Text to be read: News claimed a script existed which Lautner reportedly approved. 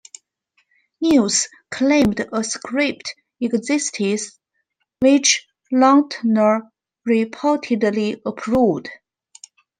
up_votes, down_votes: 1, 2